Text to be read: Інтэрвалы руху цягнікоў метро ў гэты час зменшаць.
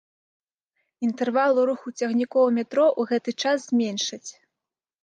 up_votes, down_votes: 2, 1